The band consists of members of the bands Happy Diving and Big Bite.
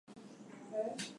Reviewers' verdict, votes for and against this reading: accepted, 2, 0